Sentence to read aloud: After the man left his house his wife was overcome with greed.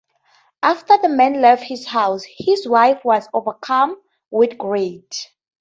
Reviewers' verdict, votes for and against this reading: accepted, 2, 0